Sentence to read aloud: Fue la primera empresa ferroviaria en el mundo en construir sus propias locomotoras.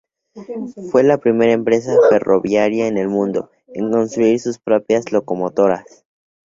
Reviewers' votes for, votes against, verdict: 4, 0, accepted